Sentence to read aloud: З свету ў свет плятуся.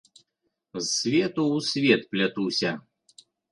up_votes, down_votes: 2, 0